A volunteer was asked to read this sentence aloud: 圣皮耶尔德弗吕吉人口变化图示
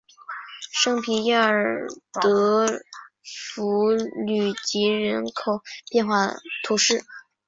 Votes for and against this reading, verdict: 2, 2, rejected